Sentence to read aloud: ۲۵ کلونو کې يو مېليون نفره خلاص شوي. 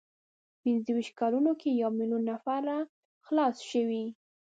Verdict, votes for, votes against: rejected, 0, 2